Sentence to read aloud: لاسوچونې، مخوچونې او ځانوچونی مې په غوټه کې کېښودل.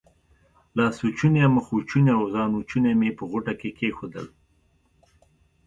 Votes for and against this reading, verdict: 2, 0, accepted